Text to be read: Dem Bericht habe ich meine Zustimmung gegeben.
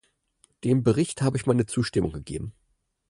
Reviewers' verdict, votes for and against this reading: accepted, 4, 0